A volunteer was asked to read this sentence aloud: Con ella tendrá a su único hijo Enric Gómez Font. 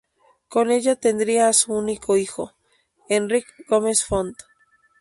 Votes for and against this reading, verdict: 0, 2, rejected